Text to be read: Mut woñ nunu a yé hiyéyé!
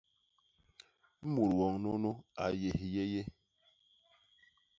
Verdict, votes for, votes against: accepted, 2, 1